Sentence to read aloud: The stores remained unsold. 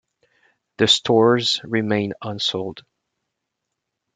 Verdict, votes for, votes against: accepted, 3, 0